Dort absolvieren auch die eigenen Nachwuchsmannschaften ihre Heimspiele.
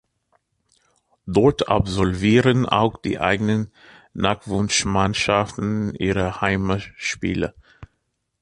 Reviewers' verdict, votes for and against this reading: accepted, 2, 1